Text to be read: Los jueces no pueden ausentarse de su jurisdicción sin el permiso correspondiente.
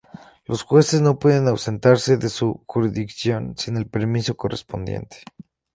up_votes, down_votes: 2, 2